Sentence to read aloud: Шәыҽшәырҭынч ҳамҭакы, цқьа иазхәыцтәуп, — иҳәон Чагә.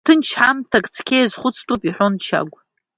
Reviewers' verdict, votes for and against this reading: rejected, 1, 2